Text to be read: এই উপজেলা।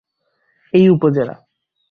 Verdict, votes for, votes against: rejected, 4, 4